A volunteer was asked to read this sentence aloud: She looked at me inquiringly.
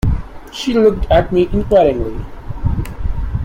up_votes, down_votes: 2, 0